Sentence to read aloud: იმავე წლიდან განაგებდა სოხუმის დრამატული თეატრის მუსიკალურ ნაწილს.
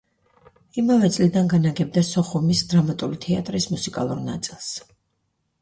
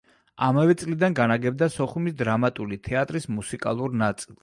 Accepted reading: first